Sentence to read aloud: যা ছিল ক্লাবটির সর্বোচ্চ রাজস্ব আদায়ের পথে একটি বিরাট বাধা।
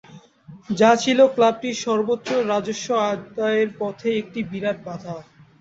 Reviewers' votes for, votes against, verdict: 3, 3, rejected